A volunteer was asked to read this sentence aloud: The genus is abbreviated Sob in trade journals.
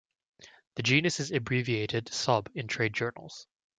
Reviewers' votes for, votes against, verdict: 3, 0, accepted